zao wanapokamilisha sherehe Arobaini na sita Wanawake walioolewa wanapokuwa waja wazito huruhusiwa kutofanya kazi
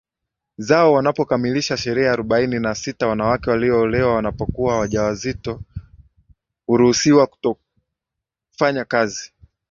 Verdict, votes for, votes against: accepted, 2, 1